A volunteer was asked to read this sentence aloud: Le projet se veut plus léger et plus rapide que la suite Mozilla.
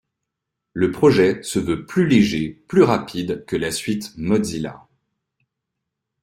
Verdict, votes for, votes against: rejected, 1, 2